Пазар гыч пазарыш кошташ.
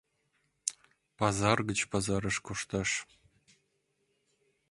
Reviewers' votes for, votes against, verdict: 2, 0, accepted